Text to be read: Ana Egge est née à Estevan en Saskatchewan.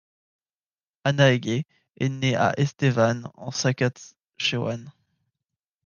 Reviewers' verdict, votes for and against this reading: rejected, 1, 2